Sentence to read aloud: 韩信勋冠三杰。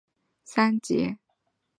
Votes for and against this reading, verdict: 0, 5, rejected